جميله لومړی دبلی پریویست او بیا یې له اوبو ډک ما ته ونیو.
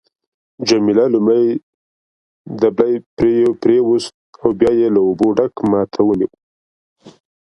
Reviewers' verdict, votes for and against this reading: rejected, 1, 2